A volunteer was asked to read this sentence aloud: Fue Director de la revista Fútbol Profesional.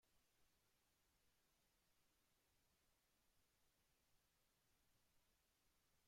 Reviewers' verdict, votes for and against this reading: rejected, 0, 3